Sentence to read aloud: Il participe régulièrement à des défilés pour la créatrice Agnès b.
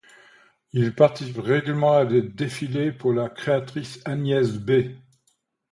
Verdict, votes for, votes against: rejected, 1, 2